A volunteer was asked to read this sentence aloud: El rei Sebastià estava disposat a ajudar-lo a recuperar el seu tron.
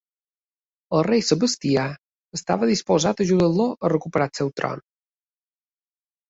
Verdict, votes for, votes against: accepted, 3, 0